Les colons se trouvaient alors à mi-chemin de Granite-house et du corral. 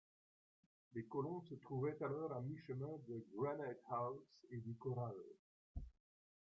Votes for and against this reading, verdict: 2, 0, accepted